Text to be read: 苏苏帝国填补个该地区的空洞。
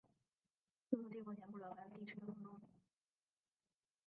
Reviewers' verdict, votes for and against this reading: rejected, 0, 2